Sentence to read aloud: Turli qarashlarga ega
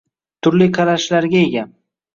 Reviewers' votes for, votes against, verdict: 2, 0, accepted